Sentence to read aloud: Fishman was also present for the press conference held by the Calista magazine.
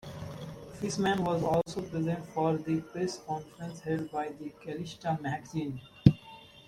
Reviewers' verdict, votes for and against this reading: accepted, 2, 1